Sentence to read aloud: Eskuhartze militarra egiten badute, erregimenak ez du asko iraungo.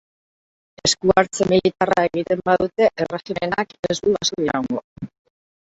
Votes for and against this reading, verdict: 0, 2, rejected